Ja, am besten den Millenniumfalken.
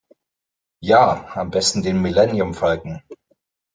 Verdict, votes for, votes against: accepted, 2, 0